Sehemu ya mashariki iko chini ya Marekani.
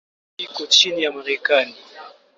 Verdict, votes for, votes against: rejected, 0, 2